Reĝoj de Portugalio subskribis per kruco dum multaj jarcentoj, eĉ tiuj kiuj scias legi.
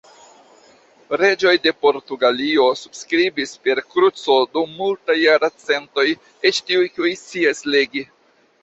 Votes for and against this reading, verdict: 2, 0, accepted